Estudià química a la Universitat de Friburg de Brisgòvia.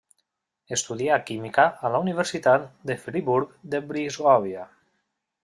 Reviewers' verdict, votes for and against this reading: accepted, 2, 0